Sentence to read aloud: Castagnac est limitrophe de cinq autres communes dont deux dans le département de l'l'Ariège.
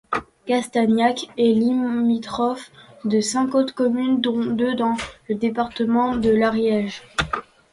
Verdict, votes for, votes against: rejected, 0, 2